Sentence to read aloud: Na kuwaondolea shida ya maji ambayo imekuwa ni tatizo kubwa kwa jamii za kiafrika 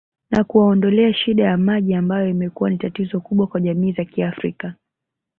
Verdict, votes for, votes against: rejected, 0, 2